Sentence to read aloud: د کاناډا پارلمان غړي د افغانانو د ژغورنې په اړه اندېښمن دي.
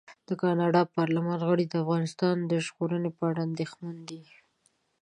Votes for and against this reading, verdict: 1, 2, rejected